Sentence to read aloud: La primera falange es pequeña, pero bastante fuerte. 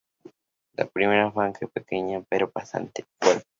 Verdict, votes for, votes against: rejected, 0, 2